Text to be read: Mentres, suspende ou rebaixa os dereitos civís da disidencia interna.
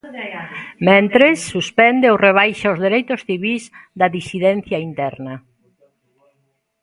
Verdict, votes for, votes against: rejected, 1, 2